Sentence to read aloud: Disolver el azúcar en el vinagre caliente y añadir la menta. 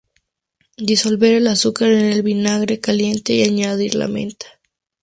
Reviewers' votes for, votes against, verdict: 2, 0, accepted